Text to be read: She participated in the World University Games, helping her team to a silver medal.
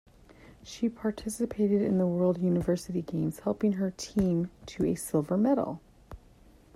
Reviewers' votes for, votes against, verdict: 2, 0, accepted